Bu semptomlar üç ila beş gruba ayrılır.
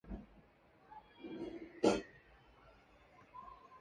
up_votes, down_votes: 0, 2